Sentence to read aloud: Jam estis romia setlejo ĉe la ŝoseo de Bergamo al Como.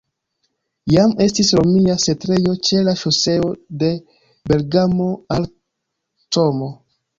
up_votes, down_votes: 3, 0